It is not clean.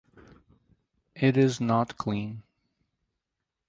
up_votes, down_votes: 4, 0